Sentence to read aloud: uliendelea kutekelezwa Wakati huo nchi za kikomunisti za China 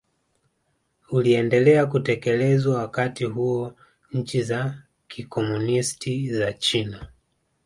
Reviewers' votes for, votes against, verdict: 2, 0, accepted